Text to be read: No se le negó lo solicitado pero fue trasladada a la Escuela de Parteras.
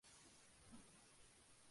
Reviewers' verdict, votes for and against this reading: rejected, 0, 2